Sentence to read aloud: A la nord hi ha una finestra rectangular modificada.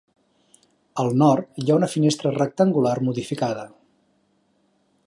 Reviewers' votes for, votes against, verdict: 3, 2, accepted